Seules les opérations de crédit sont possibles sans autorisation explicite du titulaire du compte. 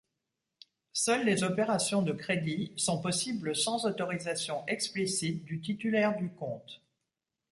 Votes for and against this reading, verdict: 3, 0, accepted